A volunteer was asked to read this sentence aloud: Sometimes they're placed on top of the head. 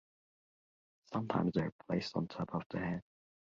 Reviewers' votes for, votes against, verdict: 3, 0, accepted